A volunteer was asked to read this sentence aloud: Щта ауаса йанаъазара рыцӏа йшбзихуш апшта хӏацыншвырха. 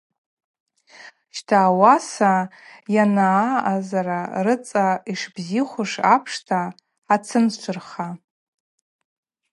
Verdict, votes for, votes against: accepted, 4, 0